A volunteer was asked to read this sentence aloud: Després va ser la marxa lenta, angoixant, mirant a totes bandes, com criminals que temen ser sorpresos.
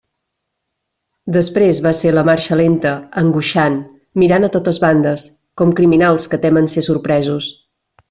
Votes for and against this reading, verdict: 3, 0, accepted